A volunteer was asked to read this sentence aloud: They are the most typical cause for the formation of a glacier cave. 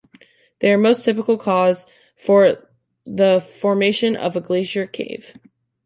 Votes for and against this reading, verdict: 0, 2, rejected